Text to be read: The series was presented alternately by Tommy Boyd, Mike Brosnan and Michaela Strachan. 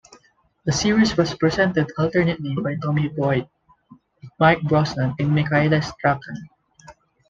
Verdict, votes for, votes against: accepted, 2, 0